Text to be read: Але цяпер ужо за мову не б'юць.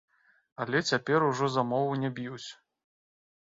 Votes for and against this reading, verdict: 2, 0, accepted